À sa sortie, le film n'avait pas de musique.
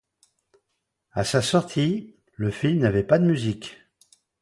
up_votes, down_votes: 2, 0